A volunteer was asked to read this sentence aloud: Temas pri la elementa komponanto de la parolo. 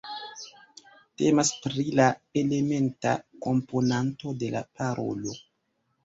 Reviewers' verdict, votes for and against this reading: rejected, 1, 2